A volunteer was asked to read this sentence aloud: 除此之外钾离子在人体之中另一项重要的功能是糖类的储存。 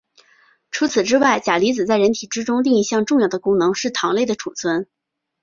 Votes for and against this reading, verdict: 2, 0, accepted